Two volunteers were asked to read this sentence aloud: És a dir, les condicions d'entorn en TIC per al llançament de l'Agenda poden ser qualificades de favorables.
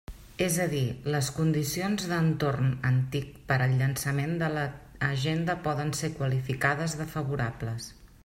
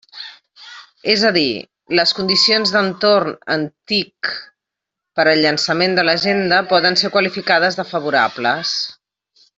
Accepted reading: second